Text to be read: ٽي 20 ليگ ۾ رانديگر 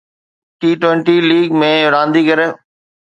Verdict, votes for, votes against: rejected, 0, 2